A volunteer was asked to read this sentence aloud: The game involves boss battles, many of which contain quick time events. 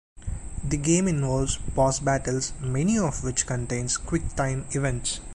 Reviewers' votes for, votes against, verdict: 1, 2, rejected